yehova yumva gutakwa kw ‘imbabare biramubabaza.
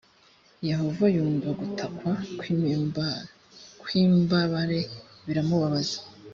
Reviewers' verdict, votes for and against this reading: rejected, 1, 2